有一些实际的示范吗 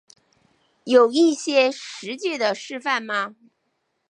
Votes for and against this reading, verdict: 4, 0, accepted